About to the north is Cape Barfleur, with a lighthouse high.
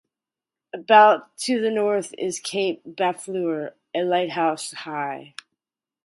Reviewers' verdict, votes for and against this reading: rejected, 0, 2